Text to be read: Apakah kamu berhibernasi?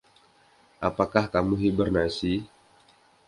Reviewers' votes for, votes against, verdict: 1, 2, rejected